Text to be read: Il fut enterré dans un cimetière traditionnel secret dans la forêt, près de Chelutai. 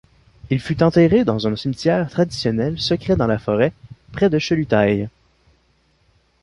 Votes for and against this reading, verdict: 2, 0, accepted